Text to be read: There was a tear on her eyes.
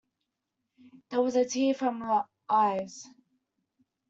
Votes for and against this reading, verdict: 1, 2, rejected